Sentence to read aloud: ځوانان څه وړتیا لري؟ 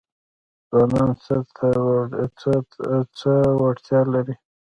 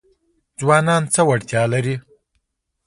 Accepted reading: second